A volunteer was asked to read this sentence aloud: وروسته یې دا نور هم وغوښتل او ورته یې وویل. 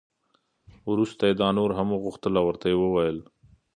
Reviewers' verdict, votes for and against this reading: accepted, 2, 0